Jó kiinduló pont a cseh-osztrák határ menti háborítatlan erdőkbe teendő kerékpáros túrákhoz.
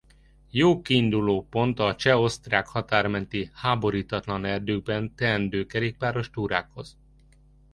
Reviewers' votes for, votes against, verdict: 1, 2, rejected